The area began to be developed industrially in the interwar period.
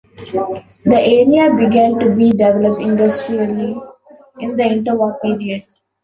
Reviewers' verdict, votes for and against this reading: rejected, 1, 2